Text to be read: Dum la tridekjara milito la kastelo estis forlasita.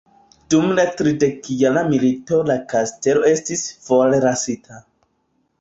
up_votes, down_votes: 0, 2